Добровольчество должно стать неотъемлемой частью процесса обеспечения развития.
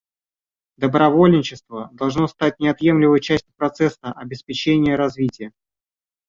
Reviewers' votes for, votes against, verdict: 0, 2, rejected